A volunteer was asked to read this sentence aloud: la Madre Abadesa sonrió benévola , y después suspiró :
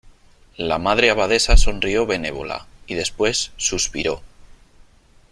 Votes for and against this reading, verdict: 3, 0, accepted